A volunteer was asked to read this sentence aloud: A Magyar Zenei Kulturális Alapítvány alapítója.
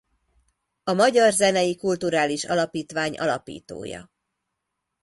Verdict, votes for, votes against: accepted, 2, 0